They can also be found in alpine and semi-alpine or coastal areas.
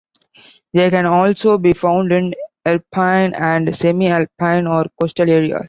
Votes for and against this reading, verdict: 2, 1, accepted